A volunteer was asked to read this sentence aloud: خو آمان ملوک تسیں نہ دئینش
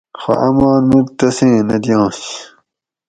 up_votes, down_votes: 2, 2